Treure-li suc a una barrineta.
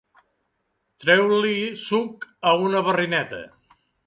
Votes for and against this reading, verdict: 4, 0, accepted